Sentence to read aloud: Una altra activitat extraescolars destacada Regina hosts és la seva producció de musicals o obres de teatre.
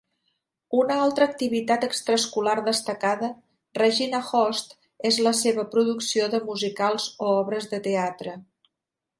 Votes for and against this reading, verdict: 0, 2, rejected